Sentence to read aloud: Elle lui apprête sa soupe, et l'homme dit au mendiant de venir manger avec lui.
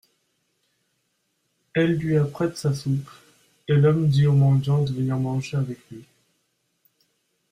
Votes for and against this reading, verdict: 2, 0, accepted